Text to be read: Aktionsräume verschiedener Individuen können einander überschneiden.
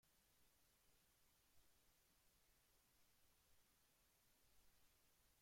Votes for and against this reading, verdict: 0, 2, rejected